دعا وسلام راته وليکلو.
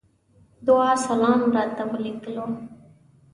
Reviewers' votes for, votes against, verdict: 2, 0, accepted